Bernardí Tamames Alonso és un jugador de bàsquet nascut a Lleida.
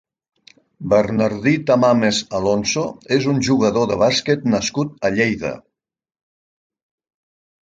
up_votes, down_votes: 3, 0